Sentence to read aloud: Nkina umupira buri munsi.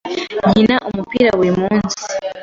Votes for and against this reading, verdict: 2, 0, accepted